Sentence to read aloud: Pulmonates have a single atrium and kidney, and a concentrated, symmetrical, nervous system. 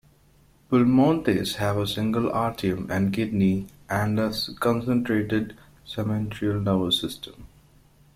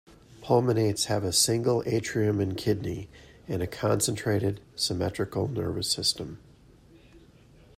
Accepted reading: second